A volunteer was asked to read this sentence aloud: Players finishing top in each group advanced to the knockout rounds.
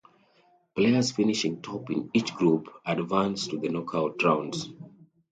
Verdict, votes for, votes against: accepted, 2, 0